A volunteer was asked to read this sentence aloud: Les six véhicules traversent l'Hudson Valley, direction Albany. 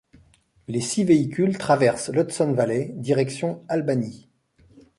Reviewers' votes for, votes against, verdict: 2, 0, accepted